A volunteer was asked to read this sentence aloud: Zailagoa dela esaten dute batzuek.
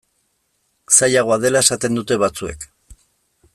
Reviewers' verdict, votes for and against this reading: accepted, 2, 0